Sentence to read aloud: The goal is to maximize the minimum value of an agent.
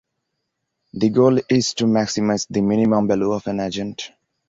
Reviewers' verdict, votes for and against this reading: accepted, 2, 0